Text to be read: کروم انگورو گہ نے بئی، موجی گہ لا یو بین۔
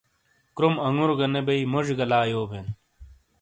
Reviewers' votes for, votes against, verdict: 2, 0, accepted